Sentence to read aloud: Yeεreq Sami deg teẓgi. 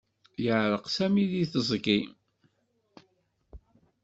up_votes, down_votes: 2, 0